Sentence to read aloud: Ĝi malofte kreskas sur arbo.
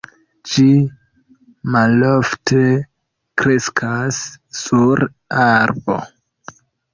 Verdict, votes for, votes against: accepted, 4, 2